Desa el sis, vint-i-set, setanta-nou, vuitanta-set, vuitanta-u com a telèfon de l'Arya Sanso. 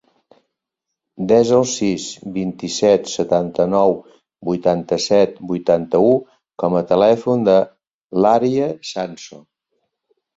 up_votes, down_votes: 2, 0